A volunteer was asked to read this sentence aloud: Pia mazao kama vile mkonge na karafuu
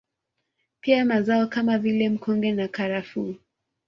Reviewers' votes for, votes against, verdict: 2, 1, accepted